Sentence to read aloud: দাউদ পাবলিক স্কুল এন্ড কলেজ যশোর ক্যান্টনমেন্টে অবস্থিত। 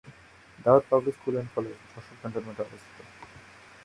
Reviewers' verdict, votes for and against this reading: rejected, 0, 2